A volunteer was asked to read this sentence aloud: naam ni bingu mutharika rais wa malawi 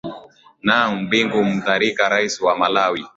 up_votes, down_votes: 2, 0